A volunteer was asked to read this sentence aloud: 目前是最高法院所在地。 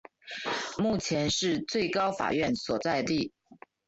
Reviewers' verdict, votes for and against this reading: accepted, 3, 1